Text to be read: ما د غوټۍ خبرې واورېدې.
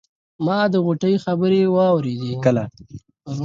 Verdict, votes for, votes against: accepted, 4, 0